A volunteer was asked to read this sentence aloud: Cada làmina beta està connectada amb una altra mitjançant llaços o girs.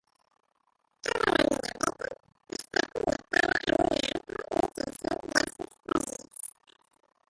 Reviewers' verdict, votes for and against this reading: rejected, 0, 2